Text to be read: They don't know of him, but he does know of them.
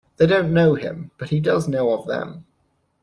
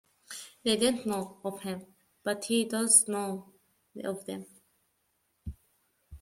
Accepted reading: second